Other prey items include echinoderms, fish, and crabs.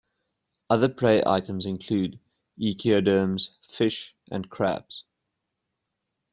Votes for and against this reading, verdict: 0, 2, rejected